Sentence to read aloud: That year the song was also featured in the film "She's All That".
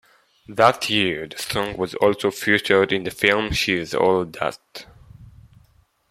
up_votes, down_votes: 2, 0